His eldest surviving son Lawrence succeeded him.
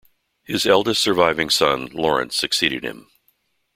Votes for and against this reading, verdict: 2, 0, accepted